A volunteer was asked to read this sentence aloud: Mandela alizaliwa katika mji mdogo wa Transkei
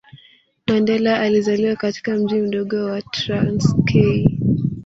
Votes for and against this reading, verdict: 0, 2, rejected